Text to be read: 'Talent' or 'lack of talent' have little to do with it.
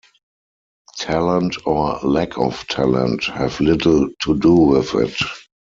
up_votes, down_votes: 2, 4